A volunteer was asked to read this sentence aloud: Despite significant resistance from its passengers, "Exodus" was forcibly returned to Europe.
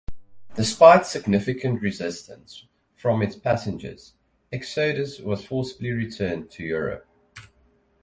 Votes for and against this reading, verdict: 2, 2, rejected